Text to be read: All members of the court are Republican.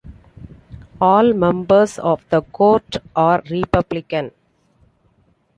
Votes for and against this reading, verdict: 2, 0, accepted